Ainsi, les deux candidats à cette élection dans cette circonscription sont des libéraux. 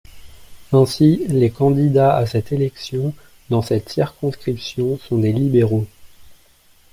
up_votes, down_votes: 0, 2